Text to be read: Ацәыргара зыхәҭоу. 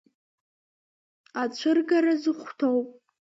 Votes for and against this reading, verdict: 2, 0, accepted